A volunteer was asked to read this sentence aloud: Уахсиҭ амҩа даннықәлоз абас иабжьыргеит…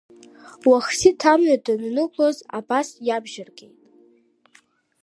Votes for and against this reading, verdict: 1, 2, rejected